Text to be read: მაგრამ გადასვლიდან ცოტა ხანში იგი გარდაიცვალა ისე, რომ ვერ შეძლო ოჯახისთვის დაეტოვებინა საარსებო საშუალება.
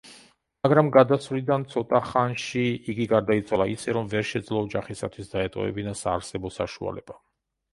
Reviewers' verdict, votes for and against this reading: rejected, 1, 2